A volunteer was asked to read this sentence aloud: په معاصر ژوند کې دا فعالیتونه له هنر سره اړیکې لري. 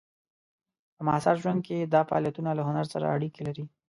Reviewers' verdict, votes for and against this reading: accepted, 2, 0